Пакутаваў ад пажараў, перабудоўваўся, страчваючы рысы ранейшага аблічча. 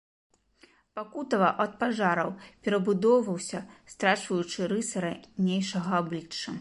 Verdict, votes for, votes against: rejected, 1, 2